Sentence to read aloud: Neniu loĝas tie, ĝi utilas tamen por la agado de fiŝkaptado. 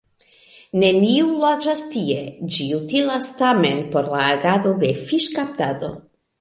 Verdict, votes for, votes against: accepted, 2, 1